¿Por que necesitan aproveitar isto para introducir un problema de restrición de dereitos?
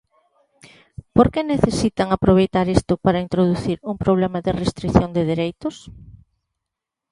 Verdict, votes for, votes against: accepted, 2, 0